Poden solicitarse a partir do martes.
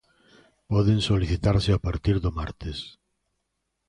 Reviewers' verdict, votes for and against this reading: accepted, 2, 0